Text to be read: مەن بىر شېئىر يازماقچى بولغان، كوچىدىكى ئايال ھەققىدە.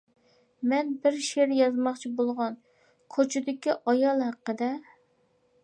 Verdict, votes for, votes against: accepted, 2, 0